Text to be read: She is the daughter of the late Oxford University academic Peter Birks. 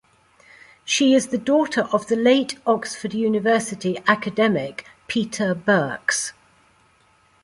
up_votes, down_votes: 2, 0